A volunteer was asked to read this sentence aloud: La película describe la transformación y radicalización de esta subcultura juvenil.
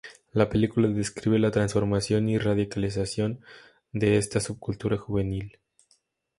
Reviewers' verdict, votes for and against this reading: accepted, 4, 0